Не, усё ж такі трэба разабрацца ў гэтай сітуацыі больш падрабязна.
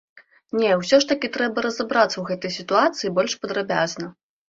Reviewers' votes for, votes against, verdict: 2, 0, accepted